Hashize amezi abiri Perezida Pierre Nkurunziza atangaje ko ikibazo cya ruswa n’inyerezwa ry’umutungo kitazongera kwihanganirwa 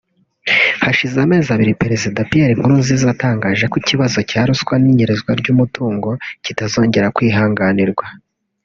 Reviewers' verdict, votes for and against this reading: rejected, 1, 2